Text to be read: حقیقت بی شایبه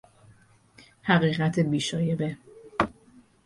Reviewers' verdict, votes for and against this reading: accepted, 6, 0